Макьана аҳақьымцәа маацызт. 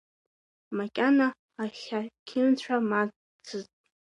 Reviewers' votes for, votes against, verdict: 0, 2, rejected